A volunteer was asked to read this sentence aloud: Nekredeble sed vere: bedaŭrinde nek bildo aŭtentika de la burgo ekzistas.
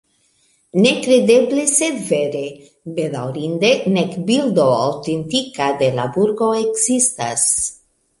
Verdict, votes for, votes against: accepted, 2, 1